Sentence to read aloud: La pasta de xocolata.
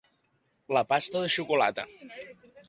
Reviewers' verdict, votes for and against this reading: accepted, 3, 0